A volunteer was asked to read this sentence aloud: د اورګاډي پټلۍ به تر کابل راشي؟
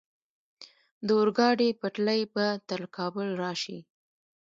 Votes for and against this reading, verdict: 1, 2, rejected